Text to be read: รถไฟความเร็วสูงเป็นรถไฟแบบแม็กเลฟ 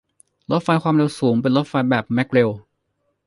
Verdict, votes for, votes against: rejected, 0, 2